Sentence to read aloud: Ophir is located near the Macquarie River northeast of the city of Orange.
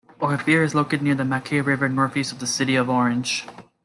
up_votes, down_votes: 2, 0